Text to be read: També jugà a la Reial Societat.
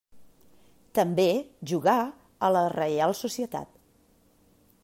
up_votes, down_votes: 3, 0